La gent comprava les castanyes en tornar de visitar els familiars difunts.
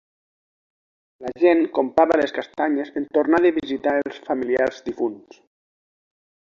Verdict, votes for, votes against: rejected, 0, 2